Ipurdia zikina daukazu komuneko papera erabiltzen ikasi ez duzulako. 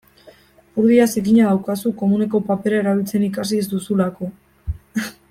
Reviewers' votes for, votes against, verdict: 1, 2, rejected